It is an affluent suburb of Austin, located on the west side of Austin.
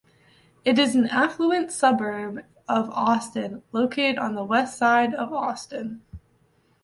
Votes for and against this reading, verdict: 1, 2, rejected